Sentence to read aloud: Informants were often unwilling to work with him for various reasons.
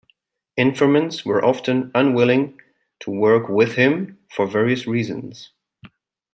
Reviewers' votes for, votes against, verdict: 2, 0, accepted